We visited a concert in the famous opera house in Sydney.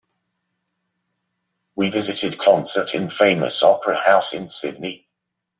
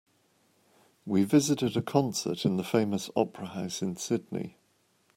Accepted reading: second